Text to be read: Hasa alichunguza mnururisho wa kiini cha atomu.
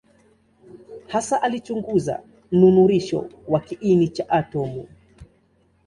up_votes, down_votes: 2, 0